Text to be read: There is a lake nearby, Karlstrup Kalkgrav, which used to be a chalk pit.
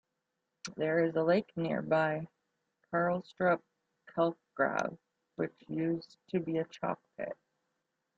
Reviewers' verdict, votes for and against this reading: rejected, 1, 2